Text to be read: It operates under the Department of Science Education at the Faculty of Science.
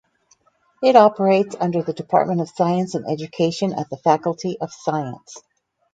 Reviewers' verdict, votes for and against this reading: accepted, 2, 0